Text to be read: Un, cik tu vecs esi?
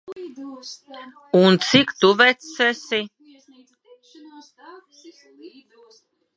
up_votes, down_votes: 1, 2